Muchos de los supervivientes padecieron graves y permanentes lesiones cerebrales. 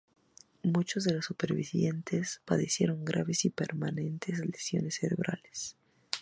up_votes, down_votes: 0, 2